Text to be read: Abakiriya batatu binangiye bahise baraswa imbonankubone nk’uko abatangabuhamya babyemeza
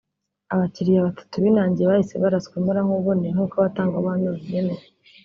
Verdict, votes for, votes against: accepted, 2, 0